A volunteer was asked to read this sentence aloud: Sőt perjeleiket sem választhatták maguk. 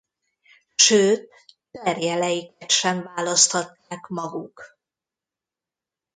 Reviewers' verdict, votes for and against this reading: rejected, 0, 2